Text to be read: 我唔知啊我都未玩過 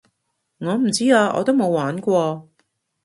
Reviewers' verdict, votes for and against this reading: rejected, 0, 2